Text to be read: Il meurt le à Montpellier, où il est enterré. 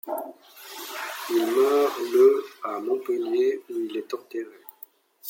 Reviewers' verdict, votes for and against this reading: rejected, 1, 2